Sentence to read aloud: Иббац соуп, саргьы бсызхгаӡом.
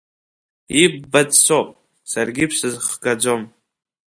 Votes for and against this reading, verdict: 1, 2, rejected